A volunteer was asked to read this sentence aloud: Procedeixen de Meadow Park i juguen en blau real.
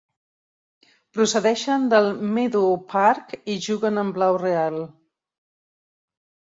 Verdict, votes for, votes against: rejected, 1, 2